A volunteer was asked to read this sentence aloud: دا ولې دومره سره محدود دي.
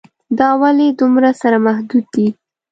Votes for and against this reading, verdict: 2, 0, accepted